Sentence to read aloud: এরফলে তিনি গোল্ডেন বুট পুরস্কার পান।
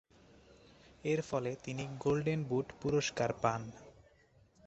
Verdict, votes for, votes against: accepted, 4, 0